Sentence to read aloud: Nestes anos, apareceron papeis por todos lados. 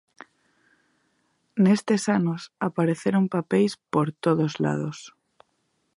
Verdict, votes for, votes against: accepted, 2, 0